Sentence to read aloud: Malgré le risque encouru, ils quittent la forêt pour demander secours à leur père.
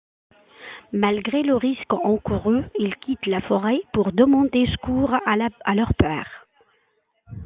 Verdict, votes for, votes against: rejected, 1, 2